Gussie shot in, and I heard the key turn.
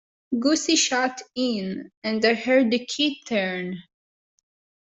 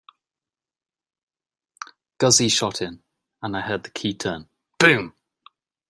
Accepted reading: first